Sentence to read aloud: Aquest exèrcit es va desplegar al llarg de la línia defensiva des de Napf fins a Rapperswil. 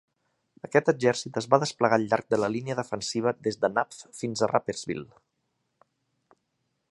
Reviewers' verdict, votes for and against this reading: accepted, 2, 0